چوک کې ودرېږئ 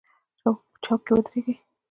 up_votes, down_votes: 2, 0